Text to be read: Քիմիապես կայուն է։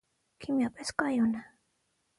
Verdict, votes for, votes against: accepted, 6, 0